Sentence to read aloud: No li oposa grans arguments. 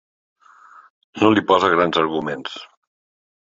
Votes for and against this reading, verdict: 1, 2, rejected